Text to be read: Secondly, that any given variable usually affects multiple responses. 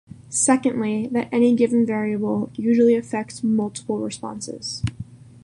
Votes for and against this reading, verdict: 1, 2, rejected